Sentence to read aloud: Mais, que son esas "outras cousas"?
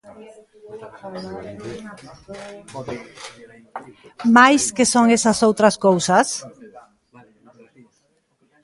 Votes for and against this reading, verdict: 0, 2, rejected